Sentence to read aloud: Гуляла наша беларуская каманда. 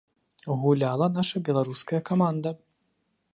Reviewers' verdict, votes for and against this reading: accepted, 2, 0